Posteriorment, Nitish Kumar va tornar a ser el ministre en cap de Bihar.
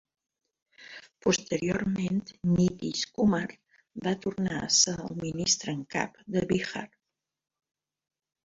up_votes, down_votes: 0, 2